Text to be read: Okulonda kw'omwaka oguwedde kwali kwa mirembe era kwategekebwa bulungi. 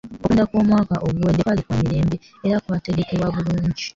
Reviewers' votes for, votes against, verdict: 0, 3, rejected